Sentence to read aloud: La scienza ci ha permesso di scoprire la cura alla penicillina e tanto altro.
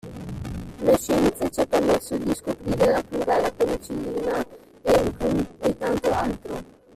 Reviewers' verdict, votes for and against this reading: rejected, 0, 2